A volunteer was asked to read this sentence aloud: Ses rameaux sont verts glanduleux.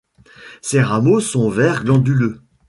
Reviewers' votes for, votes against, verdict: 2, 0, accepted